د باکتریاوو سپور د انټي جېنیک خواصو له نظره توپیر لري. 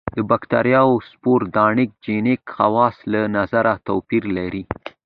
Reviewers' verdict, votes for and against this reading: accepted, 2, 1